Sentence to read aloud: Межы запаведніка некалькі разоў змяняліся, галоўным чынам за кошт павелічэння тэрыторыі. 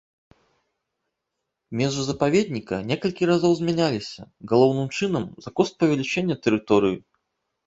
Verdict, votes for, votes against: rejected, 0, 2